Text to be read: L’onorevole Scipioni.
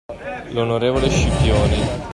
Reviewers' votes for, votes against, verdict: 2, 1, accepted